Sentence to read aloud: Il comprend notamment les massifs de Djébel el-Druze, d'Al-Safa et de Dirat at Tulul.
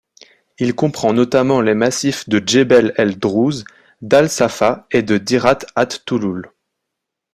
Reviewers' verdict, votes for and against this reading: accepted, 2, 0